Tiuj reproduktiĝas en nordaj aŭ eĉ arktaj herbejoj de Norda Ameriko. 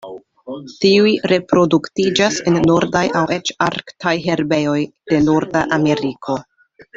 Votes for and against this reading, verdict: 2, 0, accepted